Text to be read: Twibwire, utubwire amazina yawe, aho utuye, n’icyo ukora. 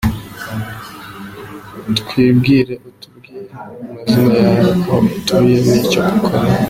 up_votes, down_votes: 0, 2